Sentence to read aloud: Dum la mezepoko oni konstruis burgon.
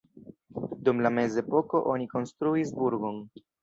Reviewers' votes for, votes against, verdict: 1, 2, rejected